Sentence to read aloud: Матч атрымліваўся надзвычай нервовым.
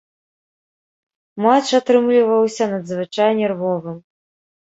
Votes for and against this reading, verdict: 1, 2, rejected